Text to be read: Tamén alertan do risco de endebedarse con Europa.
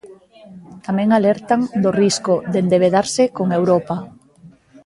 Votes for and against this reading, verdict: 1, 2, rejected